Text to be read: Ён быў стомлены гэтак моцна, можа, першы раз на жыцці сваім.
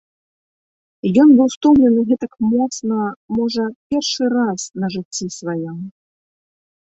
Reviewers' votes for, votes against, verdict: 0, 2, rejected